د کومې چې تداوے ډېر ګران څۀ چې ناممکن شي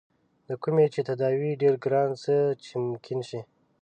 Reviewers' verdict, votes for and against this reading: rejected, 1, 2